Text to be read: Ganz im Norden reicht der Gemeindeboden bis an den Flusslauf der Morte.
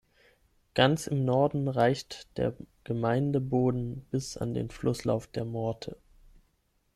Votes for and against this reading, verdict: 6, 0, accepted